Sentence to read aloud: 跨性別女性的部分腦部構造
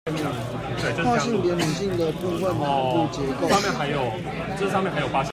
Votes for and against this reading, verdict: 1, 2, rejected